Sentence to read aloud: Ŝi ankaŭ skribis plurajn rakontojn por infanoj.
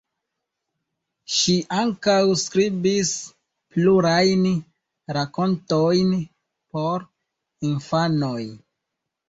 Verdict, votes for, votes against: rejected, 1, 2